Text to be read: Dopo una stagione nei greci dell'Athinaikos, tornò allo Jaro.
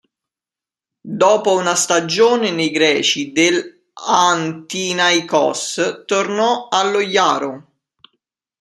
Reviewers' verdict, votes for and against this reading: rejected, 1, 2